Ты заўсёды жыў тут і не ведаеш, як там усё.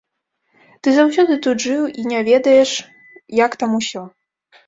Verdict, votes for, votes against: rejected, 0, 2